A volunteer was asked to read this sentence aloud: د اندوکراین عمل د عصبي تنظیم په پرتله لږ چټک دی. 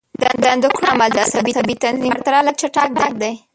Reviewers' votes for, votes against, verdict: 0, 2, rejected